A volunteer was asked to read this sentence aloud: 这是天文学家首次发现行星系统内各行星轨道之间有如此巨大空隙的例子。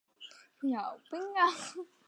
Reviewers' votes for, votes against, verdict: 0, 2, rejected